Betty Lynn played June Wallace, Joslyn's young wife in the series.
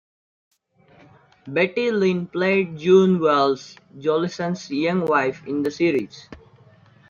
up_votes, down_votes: 1, 2